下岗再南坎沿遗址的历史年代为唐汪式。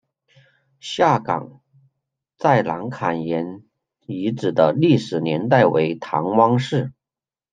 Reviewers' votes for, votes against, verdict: 2, 1, accepted